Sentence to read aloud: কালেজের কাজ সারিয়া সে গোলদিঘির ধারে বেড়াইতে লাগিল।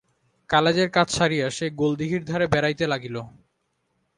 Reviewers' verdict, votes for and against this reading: accepted, 2, 0